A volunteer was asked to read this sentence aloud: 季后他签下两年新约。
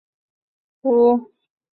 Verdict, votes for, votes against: rejected, 0, 3